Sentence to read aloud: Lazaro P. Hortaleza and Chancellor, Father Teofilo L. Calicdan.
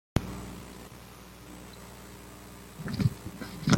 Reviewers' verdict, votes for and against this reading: rejected, 0, 2